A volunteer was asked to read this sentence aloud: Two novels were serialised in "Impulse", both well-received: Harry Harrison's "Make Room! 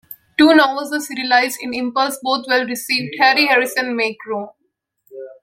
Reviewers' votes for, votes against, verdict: 0, 2, rejected